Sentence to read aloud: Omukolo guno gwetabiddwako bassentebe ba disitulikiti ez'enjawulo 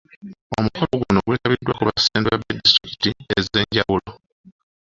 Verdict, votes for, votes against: rejected, 0, 3